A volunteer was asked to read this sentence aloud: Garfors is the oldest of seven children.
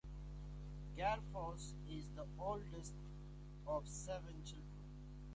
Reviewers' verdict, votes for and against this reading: accepted, 2, 1